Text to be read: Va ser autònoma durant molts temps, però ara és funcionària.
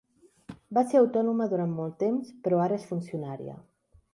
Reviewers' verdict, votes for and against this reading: accepted, 2, 0